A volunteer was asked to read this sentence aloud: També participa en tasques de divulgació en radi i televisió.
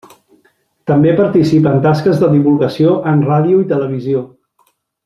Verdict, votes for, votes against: rejected, 1, 2